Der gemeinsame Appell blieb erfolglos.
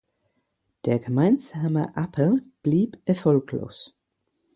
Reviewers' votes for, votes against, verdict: 4, 0, accepted